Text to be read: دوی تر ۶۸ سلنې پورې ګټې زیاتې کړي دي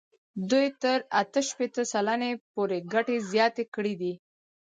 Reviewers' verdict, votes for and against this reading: rejected, 0, 2